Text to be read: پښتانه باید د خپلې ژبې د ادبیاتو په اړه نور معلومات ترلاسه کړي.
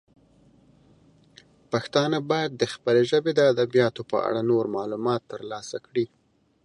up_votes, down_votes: 2, 0